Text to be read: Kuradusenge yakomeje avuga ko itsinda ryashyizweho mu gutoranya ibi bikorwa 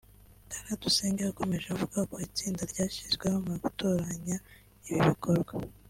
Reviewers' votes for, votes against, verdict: 2, 1, accepted